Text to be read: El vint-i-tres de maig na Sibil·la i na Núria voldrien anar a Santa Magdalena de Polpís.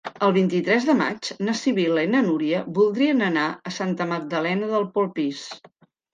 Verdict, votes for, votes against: accepted, 2, 1